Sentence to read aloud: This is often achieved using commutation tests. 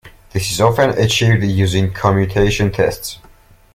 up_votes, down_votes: 0, 2